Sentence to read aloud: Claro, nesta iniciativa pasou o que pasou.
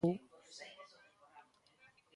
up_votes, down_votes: 1, 2